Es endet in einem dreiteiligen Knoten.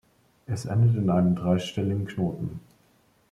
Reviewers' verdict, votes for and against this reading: rejected, 0, 2